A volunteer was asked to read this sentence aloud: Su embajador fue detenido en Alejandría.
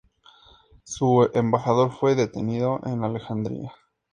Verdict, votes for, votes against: accepted, 2, 0